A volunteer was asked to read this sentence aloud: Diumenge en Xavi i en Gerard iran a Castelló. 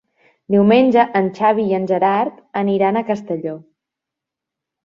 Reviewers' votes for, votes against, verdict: 1, 2, rejected